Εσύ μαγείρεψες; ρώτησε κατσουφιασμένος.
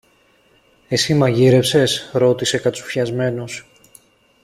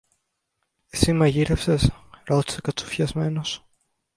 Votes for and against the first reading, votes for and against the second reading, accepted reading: 2, 0, 1, 2, first